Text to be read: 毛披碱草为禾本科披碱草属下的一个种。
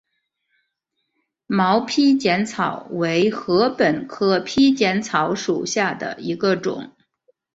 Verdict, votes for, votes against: accepted, 4, 0